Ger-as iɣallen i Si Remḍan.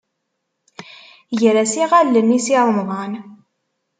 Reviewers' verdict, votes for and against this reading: accepted, 2, 0